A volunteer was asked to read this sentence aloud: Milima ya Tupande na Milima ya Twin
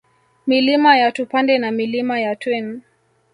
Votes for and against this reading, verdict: 0, 2, rejected